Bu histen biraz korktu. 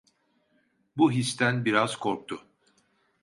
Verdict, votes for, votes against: accepted, 2, 0